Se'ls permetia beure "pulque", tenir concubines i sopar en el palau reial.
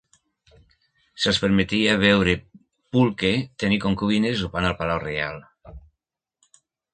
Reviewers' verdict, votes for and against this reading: rejected, 0, 2